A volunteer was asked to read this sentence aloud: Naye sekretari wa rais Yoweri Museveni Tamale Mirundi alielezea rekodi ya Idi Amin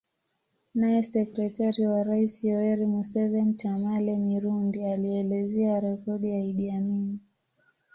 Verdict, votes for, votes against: accepted, 2, 1